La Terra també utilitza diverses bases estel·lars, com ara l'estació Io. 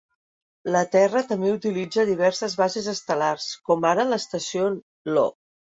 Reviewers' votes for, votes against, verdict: 2, 0, accepted